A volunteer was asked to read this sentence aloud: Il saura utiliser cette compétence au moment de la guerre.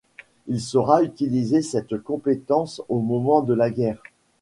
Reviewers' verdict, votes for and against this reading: rejected, 0, 2